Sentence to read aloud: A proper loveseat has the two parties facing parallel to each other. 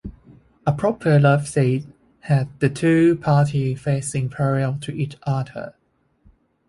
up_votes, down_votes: 1, 2